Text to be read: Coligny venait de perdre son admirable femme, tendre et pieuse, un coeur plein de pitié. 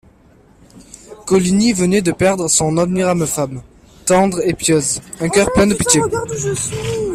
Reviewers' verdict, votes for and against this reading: rejected, 1, 2